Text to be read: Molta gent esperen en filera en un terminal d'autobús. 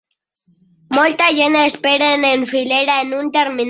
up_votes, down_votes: 0, 2